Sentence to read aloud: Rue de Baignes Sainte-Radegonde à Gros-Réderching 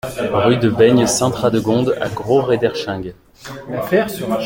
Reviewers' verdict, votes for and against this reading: rejected, 0, 2